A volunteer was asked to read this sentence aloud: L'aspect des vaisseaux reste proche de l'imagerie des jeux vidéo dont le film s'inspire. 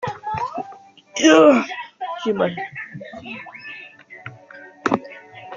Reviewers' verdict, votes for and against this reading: rejected, 0, 2